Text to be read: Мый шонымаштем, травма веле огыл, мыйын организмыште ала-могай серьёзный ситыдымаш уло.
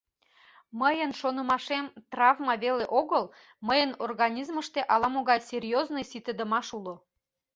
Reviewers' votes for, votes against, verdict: 1, 2, rejected